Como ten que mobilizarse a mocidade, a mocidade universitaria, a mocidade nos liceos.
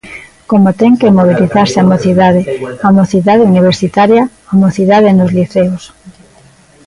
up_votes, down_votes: 2, 1